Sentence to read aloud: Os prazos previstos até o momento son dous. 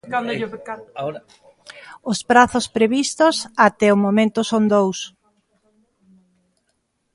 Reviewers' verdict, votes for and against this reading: rejected, 0, 2